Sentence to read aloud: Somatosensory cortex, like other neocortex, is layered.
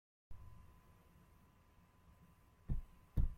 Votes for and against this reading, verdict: 0, 2, rejected